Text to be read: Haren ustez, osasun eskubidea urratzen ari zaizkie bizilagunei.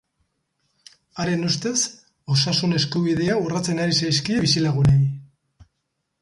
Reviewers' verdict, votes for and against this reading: accepted, 4, 0